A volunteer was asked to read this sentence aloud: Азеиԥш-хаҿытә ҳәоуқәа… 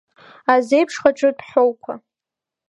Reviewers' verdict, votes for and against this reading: accepted, 2, 0